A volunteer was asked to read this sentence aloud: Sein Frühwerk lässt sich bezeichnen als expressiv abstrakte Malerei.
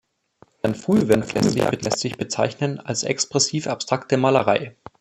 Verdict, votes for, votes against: rejected, 0, 2